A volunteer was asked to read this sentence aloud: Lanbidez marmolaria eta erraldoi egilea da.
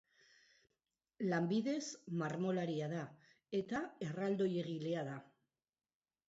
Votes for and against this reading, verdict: 0, 2, rejected